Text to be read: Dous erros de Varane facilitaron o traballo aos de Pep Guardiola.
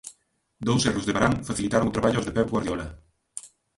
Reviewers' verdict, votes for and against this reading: rejected, 0, 2